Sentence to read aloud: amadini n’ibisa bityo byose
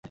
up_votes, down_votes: 1, 2